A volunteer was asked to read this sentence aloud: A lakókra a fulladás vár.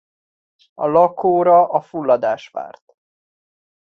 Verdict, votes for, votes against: rejected, 0, 2